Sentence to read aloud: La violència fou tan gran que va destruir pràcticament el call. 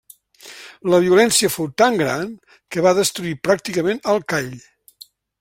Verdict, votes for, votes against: rejected, 0, 2